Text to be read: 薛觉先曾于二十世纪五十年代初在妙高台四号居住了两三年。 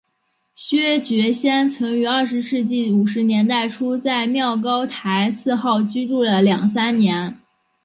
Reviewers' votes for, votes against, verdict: 2, 1, accepted